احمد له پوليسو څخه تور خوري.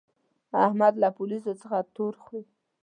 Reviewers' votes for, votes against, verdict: 3, 0, accepted